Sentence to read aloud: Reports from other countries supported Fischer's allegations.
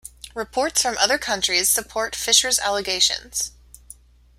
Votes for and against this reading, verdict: 0, 2, rejected